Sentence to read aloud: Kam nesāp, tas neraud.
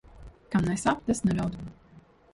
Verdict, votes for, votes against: rejected, 1, 2